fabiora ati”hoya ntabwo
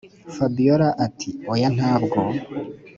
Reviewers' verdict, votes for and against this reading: accepted, 2, 0